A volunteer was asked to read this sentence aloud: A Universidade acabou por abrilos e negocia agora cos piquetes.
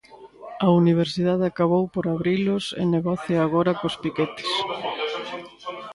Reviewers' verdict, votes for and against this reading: rejected, 0, 2